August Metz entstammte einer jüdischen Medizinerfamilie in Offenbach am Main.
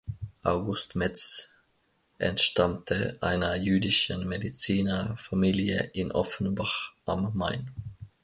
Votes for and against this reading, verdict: 2, 0, accepted